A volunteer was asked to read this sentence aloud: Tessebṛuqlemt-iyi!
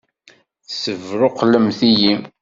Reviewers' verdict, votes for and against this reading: accepted, 2, 0